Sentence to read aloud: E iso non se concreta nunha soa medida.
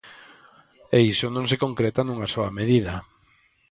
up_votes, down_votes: 4, 0